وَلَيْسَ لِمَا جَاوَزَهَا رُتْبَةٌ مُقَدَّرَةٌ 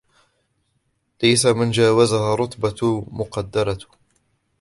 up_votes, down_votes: 2, 0